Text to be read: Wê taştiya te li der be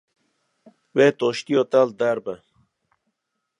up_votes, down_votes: 0, 2